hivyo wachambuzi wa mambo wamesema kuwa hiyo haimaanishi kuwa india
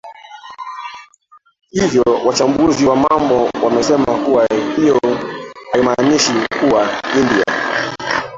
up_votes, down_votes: 0, 2